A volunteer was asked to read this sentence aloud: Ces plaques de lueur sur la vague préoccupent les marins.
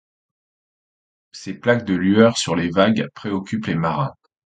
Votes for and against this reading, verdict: 1, 2, rejected